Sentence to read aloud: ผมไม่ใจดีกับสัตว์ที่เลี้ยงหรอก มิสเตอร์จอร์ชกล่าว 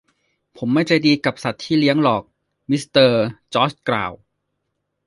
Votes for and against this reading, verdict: 2, 0, accepted